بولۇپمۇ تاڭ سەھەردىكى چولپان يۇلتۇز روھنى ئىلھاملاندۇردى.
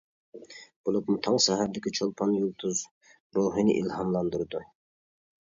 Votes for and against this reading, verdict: 0, 2, rejected